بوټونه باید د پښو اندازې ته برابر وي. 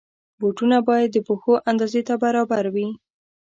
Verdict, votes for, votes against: accepted, 2, 0